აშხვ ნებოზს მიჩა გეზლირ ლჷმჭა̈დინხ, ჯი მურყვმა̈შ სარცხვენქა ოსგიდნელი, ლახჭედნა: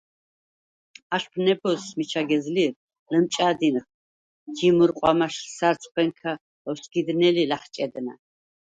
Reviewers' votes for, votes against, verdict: 0, 4, rejected